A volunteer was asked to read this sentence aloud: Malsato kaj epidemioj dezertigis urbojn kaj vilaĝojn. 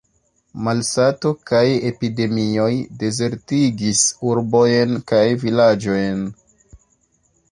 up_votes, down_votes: 2, 0